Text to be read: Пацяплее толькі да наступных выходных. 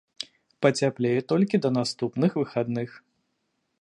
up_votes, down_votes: 1, 2